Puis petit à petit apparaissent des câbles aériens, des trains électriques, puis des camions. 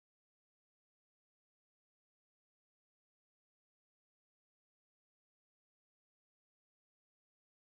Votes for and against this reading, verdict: 0, 2, rejected